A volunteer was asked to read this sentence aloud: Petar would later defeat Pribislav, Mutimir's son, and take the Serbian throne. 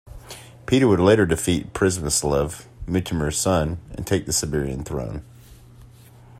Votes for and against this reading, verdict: 2, 1, accepted